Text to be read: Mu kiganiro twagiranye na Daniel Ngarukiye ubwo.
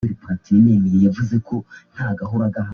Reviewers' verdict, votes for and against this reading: rejected, 0, 2